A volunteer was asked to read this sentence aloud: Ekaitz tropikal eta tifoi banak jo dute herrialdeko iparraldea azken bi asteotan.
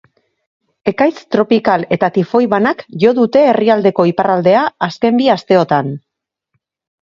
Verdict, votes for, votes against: accepted, 4, 0